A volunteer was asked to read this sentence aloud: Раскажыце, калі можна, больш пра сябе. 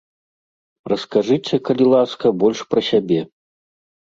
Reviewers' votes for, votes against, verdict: 0, 2, rejected